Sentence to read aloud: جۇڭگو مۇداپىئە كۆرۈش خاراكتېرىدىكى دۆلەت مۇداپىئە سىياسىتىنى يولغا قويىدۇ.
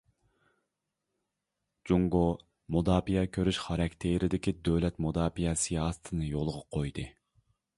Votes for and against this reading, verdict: 0, 2, rejected